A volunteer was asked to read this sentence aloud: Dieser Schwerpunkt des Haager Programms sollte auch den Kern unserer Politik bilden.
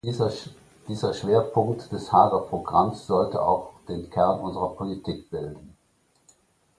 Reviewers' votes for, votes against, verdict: 1, 2, rejected